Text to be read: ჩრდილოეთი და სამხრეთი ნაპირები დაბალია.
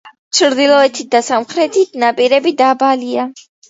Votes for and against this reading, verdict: 2, 0, accepted